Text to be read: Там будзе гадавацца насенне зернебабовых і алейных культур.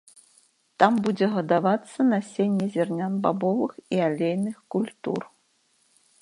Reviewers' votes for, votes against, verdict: 1, 2, rejected